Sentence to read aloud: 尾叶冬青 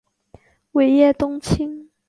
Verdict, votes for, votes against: accepted, 2, 0